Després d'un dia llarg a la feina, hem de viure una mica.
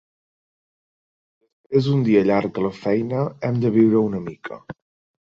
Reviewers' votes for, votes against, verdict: 0, 2, rejected